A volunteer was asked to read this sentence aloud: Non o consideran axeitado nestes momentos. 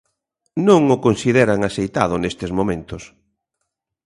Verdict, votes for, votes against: accepted, 2, 0